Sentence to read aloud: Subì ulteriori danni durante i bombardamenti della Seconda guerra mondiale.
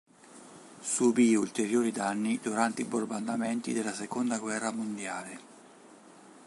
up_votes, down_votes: 1, 2